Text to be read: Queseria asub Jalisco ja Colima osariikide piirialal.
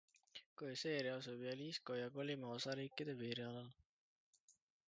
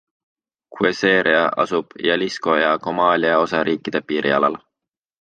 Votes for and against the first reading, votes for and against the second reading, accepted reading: 2, 0, 1, 2, first